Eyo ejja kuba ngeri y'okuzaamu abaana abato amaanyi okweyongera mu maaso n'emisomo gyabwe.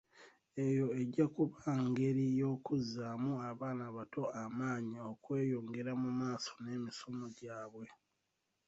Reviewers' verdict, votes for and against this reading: rejected, 1, 2